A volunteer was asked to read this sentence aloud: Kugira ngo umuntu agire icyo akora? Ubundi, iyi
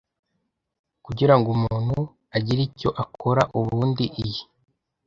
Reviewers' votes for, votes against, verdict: 2, 0, accepted